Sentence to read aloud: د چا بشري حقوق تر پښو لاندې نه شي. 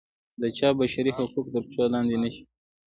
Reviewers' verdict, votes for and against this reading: rejected, 0, 2